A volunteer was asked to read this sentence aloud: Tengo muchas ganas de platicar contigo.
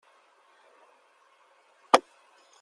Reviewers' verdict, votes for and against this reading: rejected, 0, 2